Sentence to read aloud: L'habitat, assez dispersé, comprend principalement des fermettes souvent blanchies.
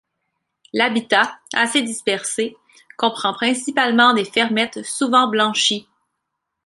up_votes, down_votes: 2, 0